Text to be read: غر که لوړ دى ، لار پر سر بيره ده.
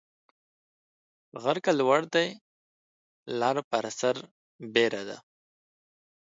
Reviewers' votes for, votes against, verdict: 1, 2, rejected